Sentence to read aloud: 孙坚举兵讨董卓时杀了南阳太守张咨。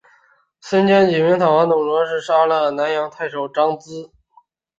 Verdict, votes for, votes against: rejected, 0, 2